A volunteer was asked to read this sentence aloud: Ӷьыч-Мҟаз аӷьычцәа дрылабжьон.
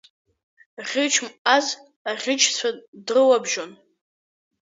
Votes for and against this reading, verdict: 2, 0, accepted